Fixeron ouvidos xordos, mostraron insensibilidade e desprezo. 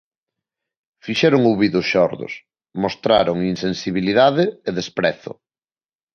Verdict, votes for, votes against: accepted, 2, 0